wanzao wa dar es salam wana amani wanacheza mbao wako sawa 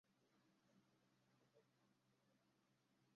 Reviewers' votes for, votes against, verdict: 0, 2, rejected